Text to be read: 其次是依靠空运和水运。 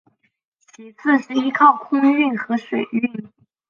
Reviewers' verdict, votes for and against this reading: accepted, 6, 0